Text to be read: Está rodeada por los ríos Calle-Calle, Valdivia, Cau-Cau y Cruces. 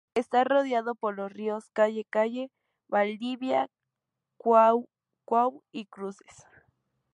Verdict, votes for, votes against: rejected, 0, 2